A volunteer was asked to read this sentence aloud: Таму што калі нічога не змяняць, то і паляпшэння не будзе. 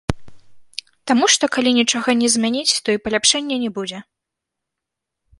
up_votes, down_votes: 2, 3